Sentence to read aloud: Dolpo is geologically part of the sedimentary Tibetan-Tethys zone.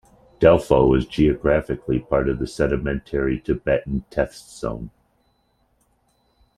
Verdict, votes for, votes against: rejected, 1, 2